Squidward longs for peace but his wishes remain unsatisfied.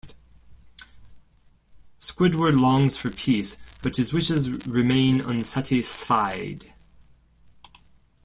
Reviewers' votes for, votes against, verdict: 1, 2, rejected